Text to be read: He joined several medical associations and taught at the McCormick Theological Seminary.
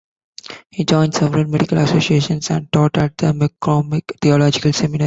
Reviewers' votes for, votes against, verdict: 0, 2, rejected